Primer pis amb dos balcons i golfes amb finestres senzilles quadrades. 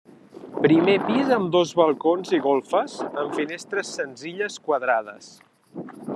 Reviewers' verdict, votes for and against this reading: accepted, 3, 0